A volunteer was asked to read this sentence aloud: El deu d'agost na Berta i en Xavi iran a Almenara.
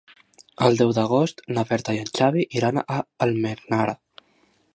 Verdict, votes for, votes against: accepted, 2, 0